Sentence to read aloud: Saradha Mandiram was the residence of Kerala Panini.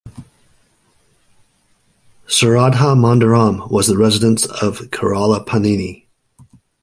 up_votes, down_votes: 2, 0